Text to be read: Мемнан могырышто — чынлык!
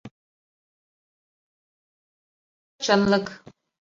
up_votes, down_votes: 0, 2